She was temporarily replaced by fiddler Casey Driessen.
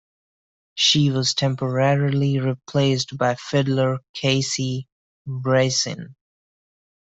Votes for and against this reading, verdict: 1, 2, rejected